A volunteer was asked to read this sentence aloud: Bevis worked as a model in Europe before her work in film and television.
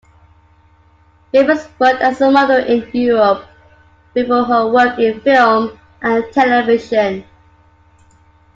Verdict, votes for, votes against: accepted, 2, 1